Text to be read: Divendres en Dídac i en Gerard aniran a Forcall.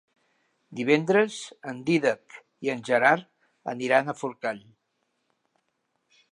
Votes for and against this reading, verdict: 4, 0, accepted